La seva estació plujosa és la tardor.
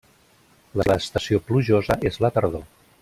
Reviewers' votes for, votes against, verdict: 1, 2, rejected